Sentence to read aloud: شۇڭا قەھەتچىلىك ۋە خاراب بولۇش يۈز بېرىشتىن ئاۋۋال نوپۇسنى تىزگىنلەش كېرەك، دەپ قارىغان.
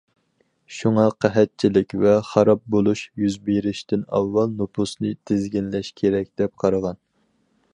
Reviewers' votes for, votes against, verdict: 4, 0, accepted